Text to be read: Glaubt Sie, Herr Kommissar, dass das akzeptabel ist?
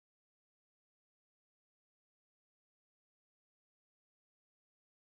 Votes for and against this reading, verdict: 0, 2, rejected